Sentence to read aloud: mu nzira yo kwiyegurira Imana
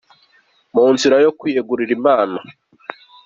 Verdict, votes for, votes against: accepted, 3, 0